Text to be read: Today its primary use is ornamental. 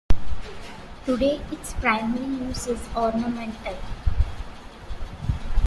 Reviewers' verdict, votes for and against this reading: accepted, 2, 0